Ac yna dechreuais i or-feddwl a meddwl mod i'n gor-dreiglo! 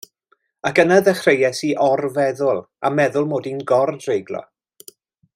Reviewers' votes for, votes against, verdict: 1, 2, rejected